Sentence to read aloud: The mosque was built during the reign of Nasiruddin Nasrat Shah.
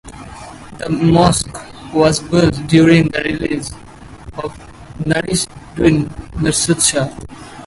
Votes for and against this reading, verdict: 0, 4, rejected